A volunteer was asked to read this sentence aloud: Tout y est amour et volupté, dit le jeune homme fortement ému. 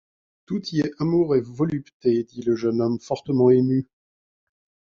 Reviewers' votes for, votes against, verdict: 2, 1, accepted